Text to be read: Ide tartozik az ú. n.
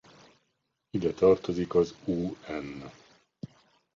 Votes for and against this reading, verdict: 0, 2, rejected